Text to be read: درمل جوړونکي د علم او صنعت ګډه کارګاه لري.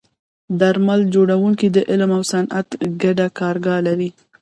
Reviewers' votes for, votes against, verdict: 1, 2, rejected